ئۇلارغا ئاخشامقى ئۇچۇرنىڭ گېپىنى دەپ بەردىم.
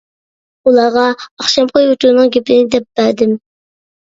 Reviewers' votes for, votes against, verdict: 0, 2, rejected